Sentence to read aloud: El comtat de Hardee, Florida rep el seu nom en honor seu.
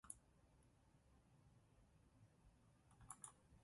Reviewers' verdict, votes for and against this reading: rejected, 0, 2